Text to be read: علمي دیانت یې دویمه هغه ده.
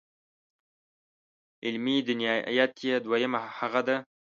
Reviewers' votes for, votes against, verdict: 2, 1, accepted